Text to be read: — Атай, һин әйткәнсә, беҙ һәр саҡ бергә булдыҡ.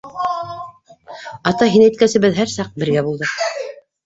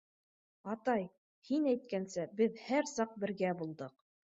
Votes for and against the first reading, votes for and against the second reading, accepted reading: 1, 2, 2, 0, second